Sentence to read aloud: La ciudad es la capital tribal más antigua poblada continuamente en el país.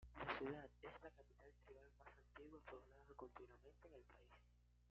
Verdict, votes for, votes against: rejected, 1, 2